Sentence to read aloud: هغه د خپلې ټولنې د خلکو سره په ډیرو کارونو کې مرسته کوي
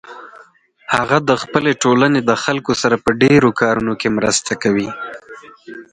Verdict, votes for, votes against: accepted, 4, 2